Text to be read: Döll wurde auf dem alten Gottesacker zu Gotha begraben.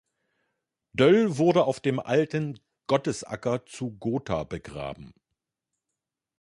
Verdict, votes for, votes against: accepted, 2, 0